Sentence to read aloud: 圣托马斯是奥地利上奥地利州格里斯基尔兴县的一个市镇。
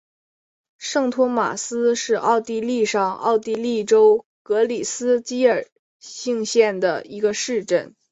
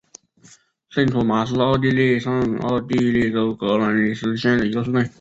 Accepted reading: first